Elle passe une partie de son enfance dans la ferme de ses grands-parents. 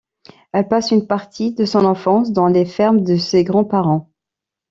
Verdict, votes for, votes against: rejected, 0, 2